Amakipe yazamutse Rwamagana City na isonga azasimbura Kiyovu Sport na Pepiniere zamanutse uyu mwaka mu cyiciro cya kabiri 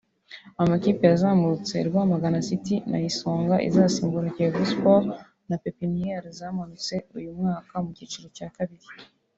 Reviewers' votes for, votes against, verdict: 3, 2, accepted